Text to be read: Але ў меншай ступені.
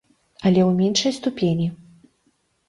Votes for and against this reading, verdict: 2, 0, accepted